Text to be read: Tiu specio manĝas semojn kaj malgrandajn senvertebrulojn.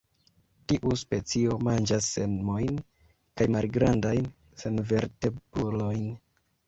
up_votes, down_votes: 1, 2